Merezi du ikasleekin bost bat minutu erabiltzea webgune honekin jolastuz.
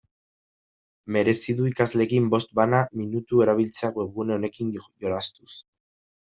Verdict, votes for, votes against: rejected, 0, 2